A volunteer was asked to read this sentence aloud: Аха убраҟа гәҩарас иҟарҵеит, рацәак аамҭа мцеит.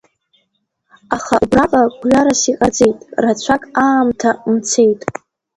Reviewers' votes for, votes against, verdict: 1, 2, rejected